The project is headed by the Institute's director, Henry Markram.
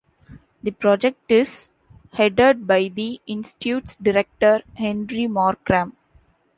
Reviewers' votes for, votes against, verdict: 0, 2, rejected